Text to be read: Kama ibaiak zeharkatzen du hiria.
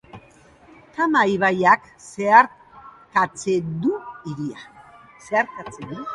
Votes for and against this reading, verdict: 1, 2, rejected